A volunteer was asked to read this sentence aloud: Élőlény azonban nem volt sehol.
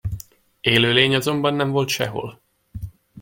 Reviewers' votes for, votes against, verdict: 2, 0, accepted